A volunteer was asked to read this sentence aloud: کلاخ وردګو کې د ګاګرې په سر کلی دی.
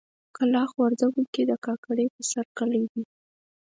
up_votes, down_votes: 4, 0